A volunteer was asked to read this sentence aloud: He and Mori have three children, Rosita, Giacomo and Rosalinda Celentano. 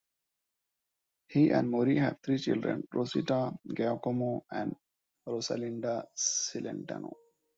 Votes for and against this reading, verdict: 2, 1, accepted